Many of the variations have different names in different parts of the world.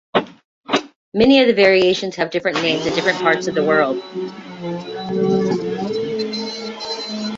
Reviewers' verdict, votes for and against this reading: rejected, 1, 2